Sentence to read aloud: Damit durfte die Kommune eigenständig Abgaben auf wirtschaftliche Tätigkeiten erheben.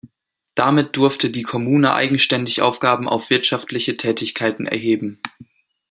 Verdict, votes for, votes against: rejected, 1, 2